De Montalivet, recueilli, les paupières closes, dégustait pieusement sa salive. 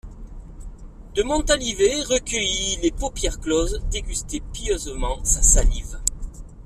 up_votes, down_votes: 0, 2